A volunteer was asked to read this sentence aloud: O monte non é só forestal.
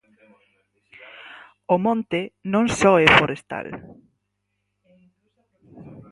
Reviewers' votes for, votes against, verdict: 2, 4, rejected